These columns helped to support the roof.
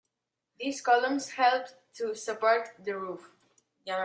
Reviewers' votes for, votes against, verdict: 2, 0, accepted